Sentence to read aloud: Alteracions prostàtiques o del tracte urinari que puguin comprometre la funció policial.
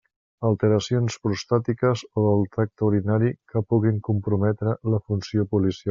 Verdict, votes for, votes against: rejected, 1, 2